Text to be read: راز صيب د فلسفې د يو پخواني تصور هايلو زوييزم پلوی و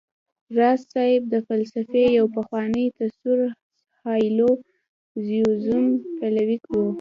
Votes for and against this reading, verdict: 0, 2, rejected